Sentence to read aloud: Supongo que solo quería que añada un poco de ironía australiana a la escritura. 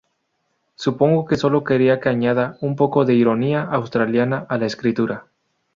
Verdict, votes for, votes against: rejected, 2, 2